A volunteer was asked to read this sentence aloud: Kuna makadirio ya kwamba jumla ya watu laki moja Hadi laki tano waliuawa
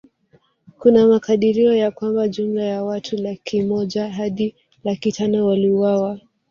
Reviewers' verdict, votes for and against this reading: accepted, 3, 1